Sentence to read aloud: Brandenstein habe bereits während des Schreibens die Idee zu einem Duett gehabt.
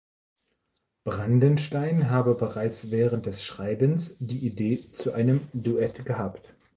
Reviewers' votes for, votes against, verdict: 2, 0, accepted